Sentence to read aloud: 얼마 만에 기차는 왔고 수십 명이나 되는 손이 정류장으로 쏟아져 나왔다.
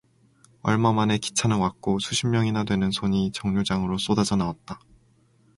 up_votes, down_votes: 2, 2